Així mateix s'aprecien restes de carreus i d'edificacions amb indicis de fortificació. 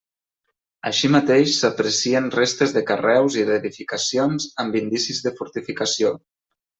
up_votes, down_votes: 2, 0